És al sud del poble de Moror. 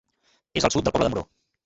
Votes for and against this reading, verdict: 0, 3, rejected